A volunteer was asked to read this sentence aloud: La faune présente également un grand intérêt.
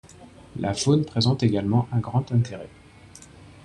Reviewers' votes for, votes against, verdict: 2, 0, accepted